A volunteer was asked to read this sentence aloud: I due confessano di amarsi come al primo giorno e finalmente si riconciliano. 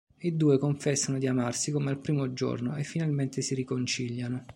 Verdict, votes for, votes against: accepted, 2, 0